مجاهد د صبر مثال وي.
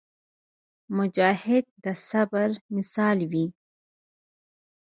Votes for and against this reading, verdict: 2, 4, rejected